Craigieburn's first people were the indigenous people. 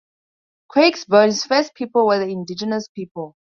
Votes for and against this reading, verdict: 0, 2, rejected